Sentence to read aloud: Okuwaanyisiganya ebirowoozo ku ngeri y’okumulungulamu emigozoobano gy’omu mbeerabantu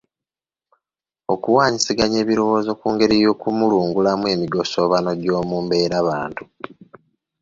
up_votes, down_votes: 0, 2